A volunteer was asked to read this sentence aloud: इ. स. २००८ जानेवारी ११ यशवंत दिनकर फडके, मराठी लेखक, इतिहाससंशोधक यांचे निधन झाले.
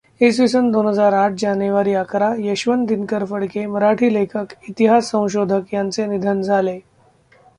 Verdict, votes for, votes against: rejected, 0, 2